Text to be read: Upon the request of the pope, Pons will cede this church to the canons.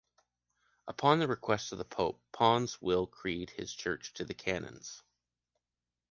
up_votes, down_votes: 0, 2